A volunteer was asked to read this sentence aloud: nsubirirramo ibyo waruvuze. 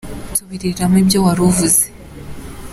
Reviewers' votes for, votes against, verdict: 2, 0, accepted